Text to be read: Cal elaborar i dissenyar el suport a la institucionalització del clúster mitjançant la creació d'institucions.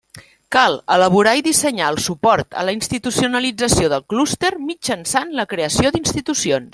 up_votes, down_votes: 3, 0